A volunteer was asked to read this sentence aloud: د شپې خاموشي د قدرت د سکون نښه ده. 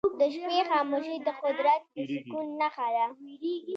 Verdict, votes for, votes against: accepted, 3, 0